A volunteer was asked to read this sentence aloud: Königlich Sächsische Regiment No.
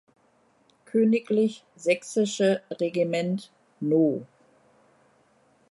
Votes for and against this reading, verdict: 1, 2, rejected